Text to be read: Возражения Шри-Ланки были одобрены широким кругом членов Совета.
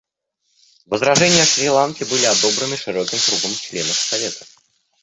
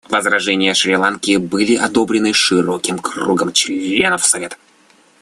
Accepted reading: second